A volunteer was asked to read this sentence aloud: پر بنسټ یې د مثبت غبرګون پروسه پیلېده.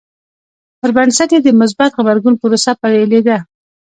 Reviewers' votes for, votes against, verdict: 0, 2, rejected